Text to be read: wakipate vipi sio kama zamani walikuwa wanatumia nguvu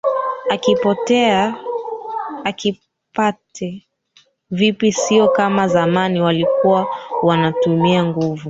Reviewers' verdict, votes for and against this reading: rejected, 0, 2